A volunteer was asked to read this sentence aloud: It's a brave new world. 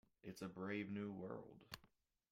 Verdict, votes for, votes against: rejected, 0, 2